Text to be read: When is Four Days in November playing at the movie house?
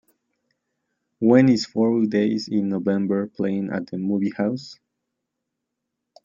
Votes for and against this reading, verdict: 2, 0, accepted